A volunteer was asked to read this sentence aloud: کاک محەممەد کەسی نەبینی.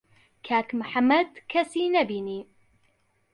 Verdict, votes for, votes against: accepted, 2, 0